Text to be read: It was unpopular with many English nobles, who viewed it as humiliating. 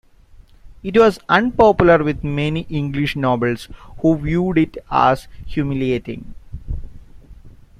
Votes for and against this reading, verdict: 1, 2, rejected